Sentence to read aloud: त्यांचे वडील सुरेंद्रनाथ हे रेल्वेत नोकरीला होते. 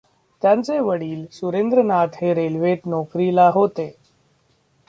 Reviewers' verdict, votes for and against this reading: rejected, 1, 2